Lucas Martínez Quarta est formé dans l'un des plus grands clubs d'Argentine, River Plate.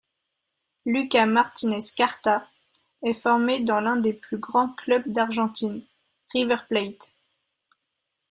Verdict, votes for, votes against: rejected, 1, 2